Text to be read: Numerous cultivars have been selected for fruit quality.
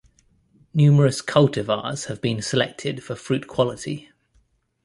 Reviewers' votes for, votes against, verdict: 2, 0, accepted